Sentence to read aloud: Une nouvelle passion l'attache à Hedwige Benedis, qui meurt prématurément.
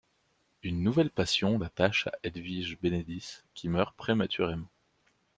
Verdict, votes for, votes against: accepted, 2, 0